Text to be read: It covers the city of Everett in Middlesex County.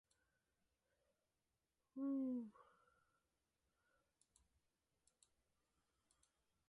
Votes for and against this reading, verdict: 0, 4, rejected